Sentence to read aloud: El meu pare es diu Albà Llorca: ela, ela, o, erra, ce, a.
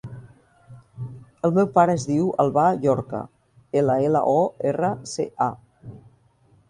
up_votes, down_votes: 3, 0